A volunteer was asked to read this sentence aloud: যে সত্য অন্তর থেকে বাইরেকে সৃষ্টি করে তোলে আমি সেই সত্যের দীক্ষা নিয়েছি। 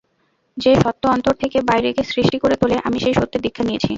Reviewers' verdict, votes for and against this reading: rejected, 0, 2